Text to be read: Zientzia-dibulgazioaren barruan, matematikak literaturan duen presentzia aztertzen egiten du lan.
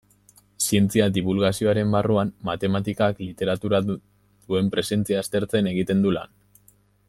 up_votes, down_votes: 1, 2